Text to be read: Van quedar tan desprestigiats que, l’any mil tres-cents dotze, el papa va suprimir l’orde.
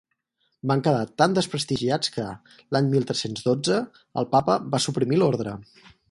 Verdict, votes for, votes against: rejected, 2, 4